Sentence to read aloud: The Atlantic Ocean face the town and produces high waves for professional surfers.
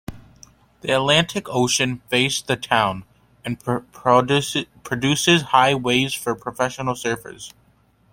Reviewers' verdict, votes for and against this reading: rejected, 0, 3